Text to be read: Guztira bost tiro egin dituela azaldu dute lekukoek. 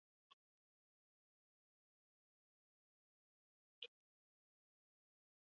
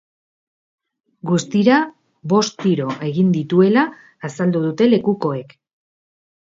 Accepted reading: second